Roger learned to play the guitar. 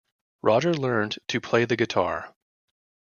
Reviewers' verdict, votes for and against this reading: accepted, 2, 0